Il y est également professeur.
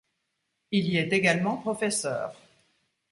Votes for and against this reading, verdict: 2, 0, accepted